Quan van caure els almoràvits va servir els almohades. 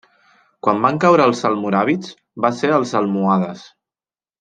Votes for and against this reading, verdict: 1, 2, rejected